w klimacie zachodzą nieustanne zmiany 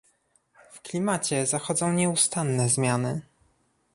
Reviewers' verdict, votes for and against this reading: accepted, 2, 0